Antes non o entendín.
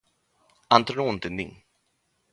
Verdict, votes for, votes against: accepted, 2, 0